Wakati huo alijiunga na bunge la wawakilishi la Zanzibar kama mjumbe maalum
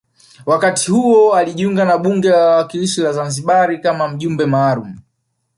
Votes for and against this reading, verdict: 2, 0, accepted